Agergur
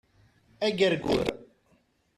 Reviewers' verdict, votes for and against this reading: rejected, 1, 2